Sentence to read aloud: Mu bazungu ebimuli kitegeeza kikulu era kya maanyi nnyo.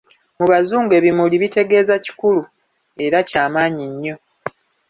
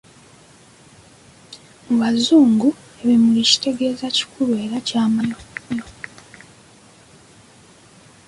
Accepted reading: first